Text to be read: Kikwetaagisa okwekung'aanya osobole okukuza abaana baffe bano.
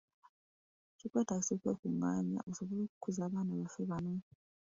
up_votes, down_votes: 0, 2